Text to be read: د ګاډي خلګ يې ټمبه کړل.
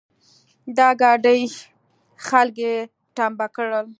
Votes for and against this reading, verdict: 2, 0, accepted